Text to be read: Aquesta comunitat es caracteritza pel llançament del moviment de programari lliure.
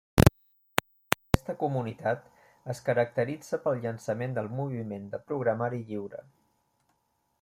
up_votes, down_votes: 0, 2